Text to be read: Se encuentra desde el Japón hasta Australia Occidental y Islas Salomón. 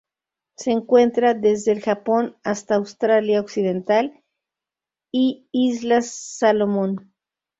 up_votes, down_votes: 2, 2